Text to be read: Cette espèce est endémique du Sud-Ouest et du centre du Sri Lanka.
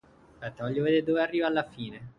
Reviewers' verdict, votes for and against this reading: rejected, 0, 2